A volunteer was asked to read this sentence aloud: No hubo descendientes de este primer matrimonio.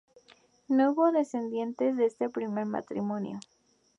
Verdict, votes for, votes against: accepted, 2, 0